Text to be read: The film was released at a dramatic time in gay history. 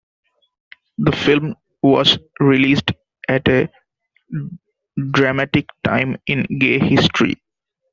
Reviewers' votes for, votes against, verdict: 2, 0, accepted